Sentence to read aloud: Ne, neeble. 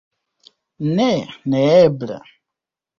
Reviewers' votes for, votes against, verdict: 1, 2, rejected